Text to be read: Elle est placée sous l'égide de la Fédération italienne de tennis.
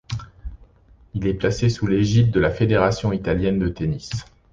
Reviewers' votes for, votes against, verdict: 1, 2, rejected